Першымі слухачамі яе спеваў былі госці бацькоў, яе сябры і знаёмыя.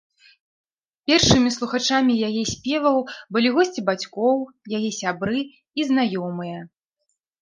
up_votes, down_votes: 2, 0